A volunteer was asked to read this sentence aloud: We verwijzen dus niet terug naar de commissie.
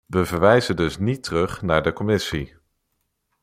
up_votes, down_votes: 2, 0